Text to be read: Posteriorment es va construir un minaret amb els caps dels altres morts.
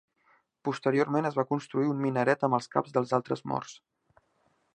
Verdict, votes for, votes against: accepted, 3, 0